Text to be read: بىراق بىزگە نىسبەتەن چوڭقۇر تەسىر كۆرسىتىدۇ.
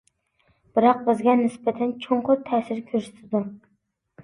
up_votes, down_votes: 2, 0